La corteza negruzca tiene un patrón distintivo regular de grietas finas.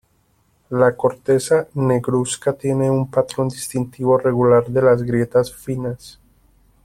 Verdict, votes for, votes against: rejected, 0, 2